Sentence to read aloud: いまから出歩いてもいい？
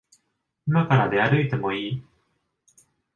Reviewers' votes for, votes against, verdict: 2, 0, accepted